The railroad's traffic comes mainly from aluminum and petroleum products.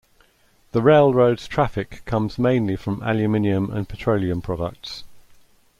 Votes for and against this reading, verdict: 1, 2, rejected